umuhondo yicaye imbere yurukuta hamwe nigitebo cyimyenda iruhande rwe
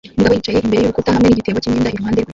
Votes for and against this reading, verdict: 0, 2, rejected